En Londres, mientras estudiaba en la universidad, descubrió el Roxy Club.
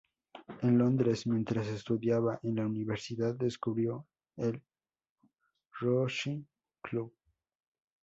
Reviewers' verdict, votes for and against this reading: rejected, 0, 2